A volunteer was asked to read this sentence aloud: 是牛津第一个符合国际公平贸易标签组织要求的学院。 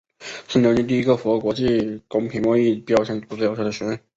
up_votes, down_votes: 1, 2